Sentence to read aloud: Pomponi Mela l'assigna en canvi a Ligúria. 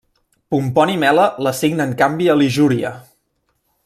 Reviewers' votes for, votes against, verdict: 1, 2, rejected